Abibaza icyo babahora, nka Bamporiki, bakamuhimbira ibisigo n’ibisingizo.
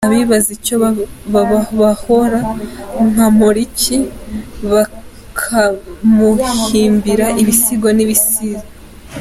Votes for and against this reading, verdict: 0, 2, rejected